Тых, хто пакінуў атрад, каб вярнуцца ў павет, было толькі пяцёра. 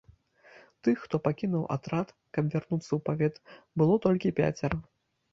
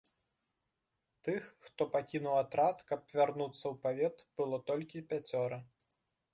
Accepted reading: second